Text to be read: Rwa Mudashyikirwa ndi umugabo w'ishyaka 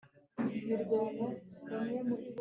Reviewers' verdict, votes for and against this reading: rejected, 1, 3